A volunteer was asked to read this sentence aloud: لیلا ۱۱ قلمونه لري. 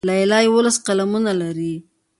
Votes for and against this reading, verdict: 0, 2, rejected